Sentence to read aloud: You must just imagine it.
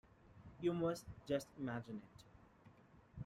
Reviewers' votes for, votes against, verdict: 2, 0, accepted